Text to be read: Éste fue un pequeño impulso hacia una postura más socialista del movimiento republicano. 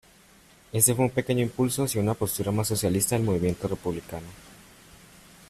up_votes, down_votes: 0, 2